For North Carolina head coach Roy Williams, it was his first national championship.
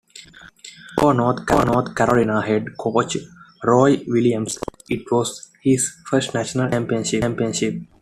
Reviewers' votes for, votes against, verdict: 0, 2, rejected